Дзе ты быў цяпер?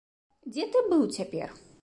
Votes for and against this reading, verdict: 2, 0, accepted